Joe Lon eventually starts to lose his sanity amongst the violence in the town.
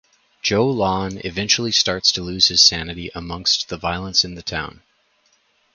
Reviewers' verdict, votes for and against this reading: accepted, 4, 0